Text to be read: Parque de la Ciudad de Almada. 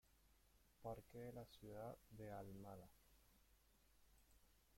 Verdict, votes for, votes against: rejected, 1, 2